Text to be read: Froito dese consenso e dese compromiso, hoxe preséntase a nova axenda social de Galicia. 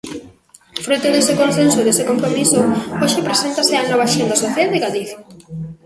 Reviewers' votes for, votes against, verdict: 1, 2, rejected